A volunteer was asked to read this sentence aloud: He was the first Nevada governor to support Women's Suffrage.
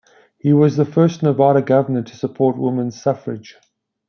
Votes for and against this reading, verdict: 2, 0, accepted